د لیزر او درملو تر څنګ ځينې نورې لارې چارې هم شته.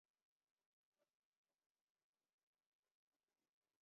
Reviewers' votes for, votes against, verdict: 0, 2, rejected